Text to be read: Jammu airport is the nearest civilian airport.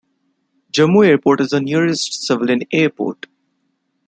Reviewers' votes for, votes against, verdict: 2, 0, accepted